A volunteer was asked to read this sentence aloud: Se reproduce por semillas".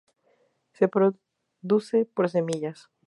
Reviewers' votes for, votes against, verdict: 0, 2, rejected